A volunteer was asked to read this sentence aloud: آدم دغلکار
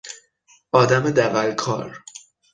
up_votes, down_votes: 6, 0